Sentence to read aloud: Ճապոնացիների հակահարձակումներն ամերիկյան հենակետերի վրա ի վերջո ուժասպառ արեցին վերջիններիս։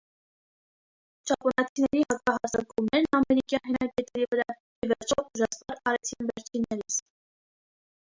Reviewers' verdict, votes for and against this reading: rejected, 1, 2